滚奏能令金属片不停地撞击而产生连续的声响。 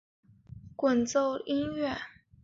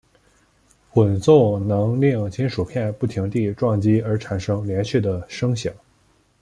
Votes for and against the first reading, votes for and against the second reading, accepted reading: 0, 7, 2, 0, second